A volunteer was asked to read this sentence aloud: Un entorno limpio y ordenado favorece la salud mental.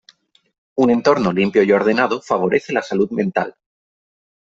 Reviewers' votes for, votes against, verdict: 3, 0, accepted